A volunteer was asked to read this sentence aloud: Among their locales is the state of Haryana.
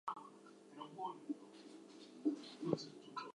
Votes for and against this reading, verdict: 0, 2, rejected